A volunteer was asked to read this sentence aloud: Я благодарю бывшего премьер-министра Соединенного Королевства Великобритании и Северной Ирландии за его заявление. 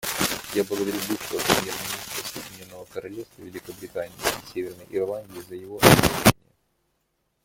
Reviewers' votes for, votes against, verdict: 0, 2, rejected